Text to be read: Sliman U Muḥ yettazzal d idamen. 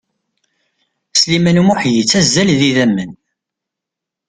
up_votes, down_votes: 2, 0